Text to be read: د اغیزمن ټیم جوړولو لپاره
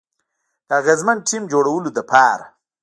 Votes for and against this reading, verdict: 1, 2, rejected